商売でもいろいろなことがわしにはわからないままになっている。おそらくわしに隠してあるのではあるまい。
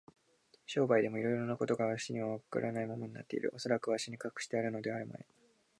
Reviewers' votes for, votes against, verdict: 0, 2, rejected